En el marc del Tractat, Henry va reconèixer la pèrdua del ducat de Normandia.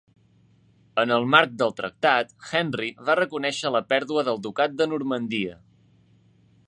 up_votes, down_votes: 3, 0